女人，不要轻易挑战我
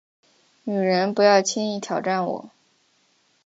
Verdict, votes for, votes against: accepted, 2, 0